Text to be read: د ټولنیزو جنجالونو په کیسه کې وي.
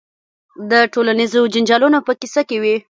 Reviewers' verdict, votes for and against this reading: rejected, 0, 2